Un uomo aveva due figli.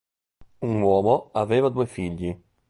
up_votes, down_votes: 1, 3